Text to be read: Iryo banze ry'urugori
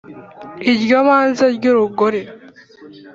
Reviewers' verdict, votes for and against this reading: accepted, 3, 0